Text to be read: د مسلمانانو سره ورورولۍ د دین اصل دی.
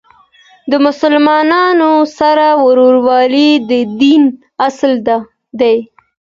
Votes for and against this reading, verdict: 2, 0, accepted